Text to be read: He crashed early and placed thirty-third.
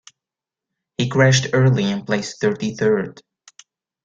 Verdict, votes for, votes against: accepted, 2, 0